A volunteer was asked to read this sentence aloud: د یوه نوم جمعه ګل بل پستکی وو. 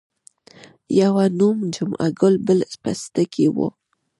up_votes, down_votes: 1, 2